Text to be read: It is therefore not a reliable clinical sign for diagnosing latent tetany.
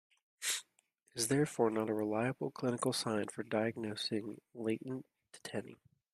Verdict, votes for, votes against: rejected, 0, 2